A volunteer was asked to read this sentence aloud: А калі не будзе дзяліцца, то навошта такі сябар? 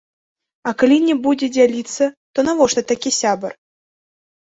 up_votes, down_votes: 6, 0